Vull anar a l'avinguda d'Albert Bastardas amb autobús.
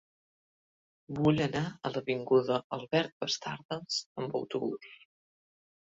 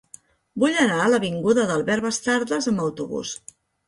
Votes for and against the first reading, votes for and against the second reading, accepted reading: 0, 2, 2, 0, second